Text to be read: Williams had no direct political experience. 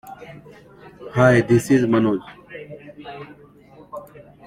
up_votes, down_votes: 0, 2